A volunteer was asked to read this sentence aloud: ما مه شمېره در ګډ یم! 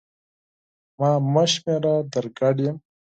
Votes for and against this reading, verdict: 4, 0, accepted